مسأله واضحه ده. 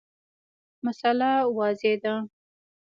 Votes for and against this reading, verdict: 0, 2, rejected